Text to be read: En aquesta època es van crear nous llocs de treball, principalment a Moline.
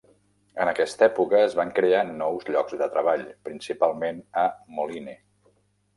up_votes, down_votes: 1, 2